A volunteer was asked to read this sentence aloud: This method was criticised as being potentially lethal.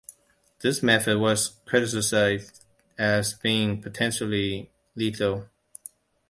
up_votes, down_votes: 0, 2